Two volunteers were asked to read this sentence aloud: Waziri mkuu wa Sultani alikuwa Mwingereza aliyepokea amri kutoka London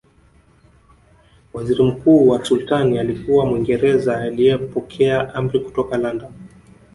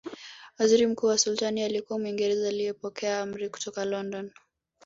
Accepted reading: second